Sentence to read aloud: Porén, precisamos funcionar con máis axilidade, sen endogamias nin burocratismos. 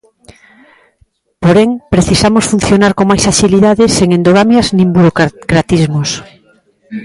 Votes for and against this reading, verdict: 0, 2, rejected